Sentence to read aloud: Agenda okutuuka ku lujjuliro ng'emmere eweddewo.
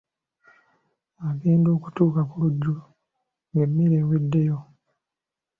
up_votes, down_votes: 0, 2